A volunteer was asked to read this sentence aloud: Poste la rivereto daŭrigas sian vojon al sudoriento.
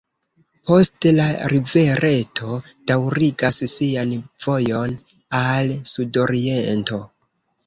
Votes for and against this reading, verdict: 1, 2, rejected